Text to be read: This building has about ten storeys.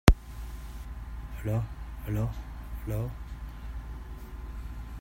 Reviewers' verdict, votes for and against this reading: rejected, 0, 2